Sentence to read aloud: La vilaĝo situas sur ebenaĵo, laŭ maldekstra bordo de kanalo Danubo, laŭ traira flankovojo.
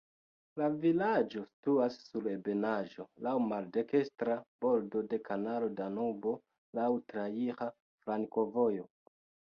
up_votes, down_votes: 2, 1